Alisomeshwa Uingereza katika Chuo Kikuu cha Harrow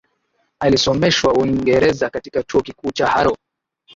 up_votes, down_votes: 1, 2